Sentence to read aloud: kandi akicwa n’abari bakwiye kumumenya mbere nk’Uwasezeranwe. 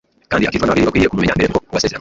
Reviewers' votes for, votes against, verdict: 1, 2, rejected